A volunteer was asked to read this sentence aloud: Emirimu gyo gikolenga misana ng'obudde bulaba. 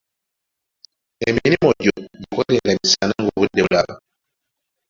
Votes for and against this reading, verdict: 1, 2, rejected